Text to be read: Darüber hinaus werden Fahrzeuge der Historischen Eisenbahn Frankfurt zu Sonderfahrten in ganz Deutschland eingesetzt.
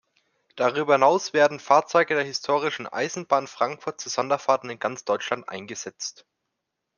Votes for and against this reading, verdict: 3, 0, accepted